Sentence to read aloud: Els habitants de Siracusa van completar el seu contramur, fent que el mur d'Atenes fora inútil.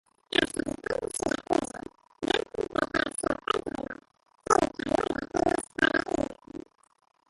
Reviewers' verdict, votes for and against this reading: accepted, 2, 1